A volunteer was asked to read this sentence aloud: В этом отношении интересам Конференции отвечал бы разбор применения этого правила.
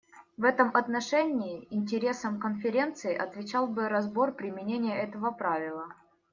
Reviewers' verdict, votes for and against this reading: accepted, 2, 0